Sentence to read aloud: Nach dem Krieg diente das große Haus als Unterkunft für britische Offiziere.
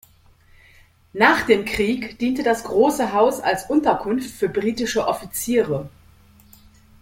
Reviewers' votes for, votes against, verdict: 2, 0, accepted